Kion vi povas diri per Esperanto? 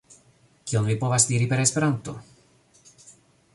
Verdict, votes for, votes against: accepted, 2, 0